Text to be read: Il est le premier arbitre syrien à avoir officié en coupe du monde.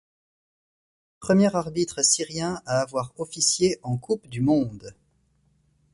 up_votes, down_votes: 1, 2